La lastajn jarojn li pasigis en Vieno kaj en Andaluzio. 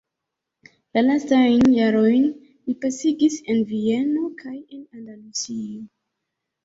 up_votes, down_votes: 0, 3